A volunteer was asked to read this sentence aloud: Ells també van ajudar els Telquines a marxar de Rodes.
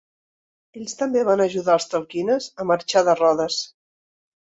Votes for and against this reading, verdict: 2, 0, accepted